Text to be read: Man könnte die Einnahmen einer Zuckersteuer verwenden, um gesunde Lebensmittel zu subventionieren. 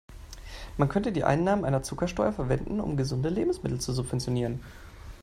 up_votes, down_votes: 2, 0